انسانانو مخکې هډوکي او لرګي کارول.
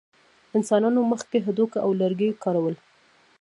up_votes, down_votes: 0, 2